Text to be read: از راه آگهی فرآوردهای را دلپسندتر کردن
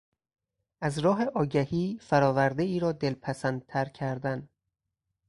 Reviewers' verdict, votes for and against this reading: accepted, 4, 0